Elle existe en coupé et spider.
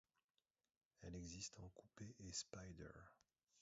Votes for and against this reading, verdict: 1, 2, rejected